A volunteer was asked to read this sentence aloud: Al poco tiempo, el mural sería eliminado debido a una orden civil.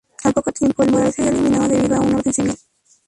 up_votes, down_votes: 0, 2